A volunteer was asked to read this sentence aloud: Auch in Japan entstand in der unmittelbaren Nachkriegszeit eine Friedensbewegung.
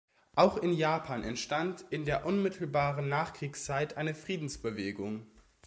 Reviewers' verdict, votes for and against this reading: accepted, 2, 0